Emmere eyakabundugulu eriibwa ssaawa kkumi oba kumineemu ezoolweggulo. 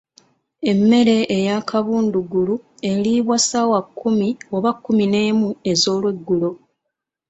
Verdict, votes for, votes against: accepted, 2, 0